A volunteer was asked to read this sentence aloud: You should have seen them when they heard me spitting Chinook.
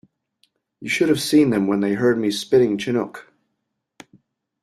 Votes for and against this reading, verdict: 2, 1, accepted